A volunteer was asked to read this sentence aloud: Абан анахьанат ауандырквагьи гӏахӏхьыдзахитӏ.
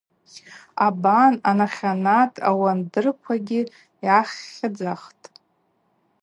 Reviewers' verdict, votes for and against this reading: rejected, 0, 2